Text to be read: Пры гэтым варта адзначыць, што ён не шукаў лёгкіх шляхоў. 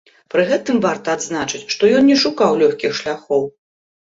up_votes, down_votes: 2, 0